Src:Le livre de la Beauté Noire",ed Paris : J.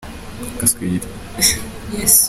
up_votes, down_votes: 0, 2